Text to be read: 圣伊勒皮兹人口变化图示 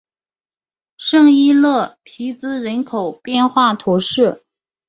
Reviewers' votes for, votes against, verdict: 3, 0, accepted